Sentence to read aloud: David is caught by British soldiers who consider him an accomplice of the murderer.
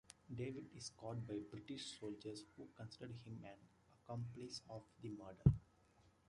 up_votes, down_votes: 1, 2